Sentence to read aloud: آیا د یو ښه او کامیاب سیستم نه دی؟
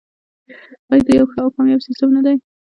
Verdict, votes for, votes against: rejected, 1, 2